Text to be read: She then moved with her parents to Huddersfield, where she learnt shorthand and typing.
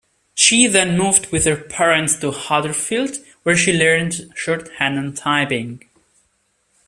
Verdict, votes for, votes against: rejected, 1, 2